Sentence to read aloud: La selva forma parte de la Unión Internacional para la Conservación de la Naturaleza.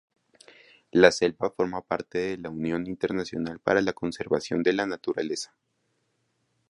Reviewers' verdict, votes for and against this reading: rejected, 2, 2